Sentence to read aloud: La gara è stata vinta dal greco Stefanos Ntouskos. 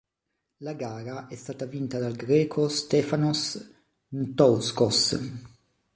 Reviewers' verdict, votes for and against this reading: accepted, 3, 0